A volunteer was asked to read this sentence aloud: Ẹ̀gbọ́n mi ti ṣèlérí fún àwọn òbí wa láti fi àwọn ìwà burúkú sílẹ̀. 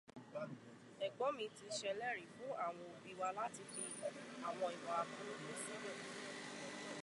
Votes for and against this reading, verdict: 1, 2, rejected